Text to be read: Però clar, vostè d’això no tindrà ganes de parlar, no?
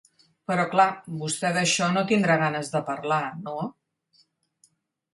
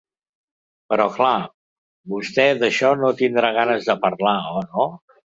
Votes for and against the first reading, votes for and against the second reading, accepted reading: 3, 0, 0, 2, first